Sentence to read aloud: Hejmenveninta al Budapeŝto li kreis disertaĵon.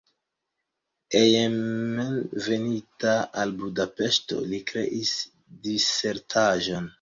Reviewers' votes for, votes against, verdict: 1, 2, rejected